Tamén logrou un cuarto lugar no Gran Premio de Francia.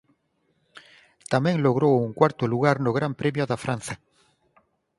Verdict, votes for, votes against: rejected, 0, 4